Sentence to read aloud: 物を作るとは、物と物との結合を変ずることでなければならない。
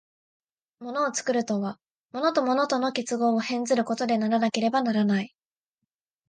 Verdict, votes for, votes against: rejected, 0, 2